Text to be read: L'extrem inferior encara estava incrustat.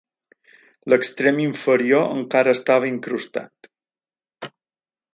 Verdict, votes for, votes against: accepted, 5, 0